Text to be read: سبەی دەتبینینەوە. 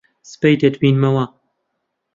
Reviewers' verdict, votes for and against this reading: accepted, 2, 1